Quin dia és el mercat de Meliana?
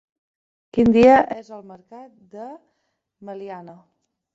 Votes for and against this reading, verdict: 2, 0, accepted